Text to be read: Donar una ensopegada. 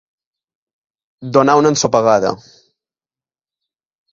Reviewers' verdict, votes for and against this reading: accepted, 2, 0